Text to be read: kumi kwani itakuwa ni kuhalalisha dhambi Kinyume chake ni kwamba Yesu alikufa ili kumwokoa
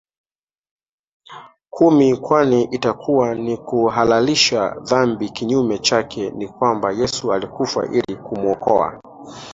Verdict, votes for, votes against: rejected, 1, 2